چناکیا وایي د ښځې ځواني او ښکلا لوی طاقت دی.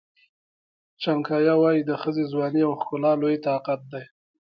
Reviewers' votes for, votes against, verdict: 2, 0, accepted